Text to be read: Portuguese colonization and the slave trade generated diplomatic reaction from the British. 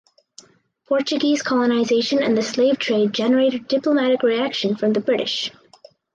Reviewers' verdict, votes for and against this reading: accepted, 2, 0